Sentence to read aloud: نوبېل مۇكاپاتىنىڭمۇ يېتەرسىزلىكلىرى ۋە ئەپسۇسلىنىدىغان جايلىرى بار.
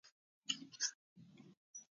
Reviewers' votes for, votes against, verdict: 0, 2, rejected